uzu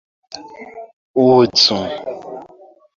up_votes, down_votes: 0, 2